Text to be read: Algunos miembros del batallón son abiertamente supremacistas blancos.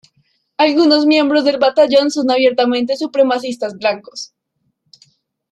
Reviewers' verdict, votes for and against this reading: accepted, 2, 0